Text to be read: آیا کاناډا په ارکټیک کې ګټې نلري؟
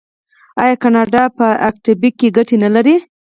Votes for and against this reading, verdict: 0, 4, rejected